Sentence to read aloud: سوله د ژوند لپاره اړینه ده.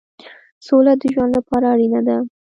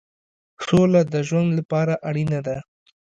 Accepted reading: second